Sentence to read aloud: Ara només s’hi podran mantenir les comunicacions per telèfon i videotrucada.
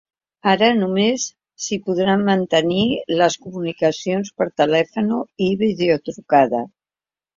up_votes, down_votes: 2, 3